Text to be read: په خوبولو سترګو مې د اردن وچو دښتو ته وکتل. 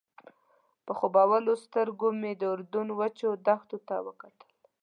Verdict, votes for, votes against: accepted, 2, 0